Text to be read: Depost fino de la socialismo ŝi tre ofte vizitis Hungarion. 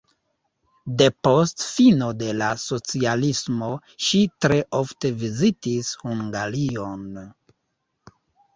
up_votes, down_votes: 2, 1